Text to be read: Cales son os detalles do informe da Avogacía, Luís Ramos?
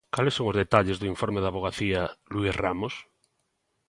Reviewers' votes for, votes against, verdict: 2, 0, accepted